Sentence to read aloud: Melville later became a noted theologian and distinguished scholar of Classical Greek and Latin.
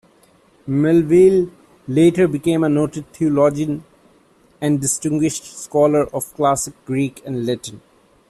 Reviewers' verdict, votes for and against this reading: rejected, 0, 2